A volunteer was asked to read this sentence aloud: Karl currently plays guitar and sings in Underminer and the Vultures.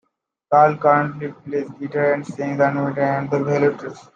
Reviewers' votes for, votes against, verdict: 0, 2, rejected